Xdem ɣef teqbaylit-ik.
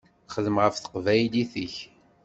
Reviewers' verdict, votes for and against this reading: accepted, 2, 0